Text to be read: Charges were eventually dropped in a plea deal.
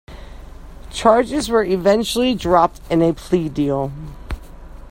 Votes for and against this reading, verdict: 2, 0, accepted